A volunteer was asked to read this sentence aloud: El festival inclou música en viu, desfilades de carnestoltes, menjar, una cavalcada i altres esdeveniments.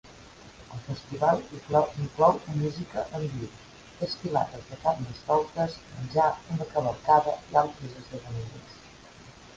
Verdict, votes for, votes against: rejected, 0, 2